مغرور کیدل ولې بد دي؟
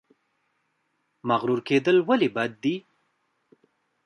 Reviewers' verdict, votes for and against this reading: rejected, 0, 2